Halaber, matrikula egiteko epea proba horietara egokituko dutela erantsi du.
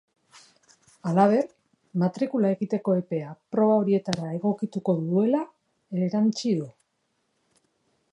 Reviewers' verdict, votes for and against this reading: rejected, 0, 2